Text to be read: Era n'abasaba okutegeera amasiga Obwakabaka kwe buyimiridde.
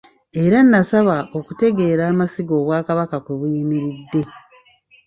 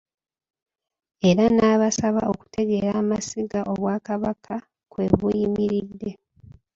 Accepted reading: second